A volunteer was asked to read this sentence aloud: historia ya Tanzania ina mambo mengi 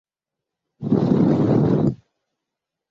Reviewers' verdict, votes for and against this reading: rejected, 0, 2